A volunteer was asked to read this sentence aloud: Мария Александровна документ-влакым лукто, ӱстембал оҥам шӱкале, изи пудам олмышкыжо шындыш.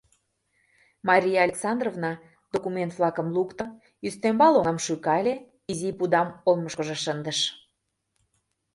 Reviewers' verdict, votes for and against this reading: accepted, 2, 0